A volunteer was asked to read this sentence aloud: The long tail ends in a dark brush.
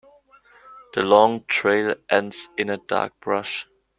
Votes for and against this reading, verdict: 2, 3, rejected